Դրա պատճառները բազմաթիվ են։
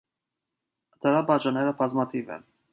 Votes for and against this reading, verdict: 2, 0, accepted